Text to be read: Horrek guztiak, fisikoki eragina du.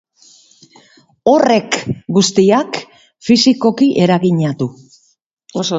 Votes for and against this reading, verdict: 0, 2, rejected